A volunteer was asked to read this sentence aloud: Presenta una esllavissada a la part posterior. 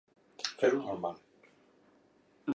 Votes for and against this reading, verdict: 0, 2, rejected